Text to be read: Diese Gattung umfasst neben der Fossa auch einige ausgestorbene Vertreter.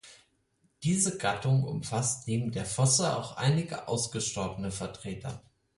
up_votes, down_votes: 4, 0